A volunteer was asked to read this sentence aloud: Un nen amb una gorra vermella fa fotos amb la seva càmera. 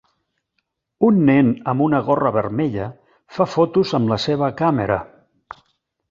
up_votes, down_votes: 3, 0